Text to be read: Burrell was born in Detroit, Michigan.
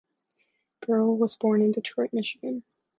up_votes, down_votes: 2, 0